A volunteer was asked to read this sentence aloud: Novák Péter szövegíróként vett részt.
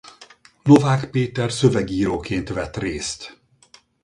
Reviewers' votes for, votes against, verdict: 4, 0, accepted